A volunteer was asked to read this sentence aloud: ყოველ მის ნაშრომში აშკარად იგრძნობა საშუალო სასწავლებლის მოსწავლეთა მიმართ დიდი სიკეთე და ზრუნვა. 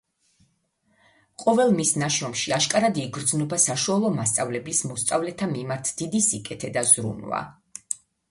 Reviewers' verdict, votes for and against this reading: rejected, 0, 2